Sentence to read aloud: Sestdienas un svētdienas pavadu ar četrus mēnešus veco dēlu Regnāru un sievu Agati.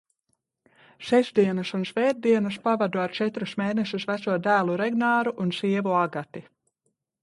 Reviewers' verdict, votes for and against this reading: accepted, 2, 0